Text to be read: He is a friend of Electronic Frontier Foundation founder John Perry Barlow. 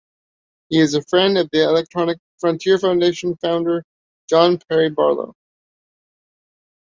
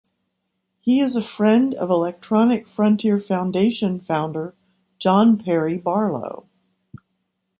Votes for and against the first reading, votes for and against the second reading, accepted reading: 0, 2, 2, 0, second